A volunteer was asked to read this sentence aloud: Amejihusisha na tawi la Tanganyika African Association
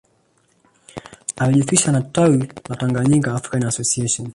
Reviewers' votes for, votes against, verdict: 2, 1, accepted